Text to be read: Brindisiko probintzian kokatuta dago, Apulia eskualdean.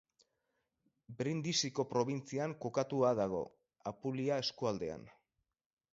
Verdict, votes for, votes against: accepted, 6, 0